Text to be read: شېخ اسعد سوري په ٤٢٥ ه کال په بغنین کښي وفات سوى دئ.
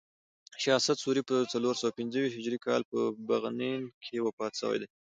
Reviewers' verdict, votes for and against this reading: rejected, 0, 2